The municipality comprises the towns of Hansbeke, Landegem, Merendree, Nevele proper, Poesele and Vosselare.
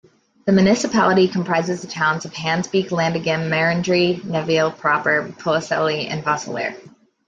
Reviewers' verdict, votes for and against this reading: rejected, 0, 2